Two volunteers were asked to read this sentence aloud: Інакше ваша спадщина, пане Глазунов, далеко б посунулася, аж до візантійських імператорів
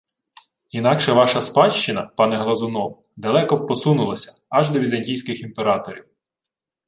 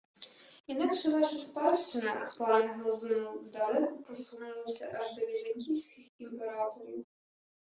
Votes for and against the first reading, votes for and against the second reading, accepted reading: 2, 0, 0, 2, first